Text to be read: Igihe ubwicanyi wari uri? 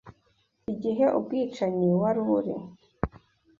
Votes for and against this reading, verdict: 2, 0, accepted